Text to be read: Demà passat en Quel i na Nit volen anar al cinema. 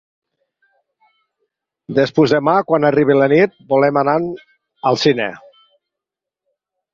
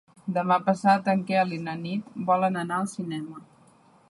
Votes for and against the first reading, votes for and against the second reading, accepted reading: 2, 4, 3, 0, second